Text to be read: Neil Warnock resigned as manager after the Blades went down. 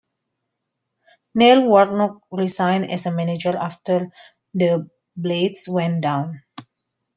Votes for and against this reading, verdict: 2, 0, accepted